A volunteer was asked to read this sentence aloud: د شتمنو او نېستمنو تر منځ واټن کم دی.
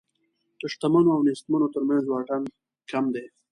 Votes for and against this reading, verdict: 2, 0, accepted